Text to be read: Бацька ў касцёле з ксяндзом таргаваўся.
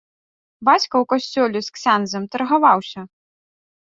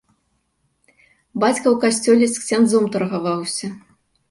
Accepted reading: second